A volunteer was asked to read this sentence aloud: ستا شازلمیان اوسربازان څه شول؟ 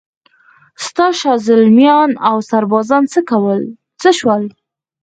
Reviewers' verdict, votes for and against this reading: rejected, 2, 4